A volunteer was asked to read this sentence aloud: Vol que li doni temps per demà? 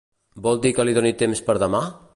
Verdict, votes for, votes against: rejected, 1, 2